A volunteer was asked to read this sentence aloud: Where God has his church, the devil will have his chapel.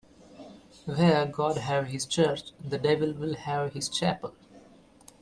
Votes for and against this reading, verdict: 1, 2, rejected